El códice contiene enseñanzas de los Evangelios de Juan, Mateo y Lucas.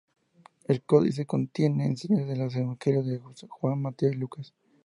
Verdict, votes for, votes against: rejected, 2, 2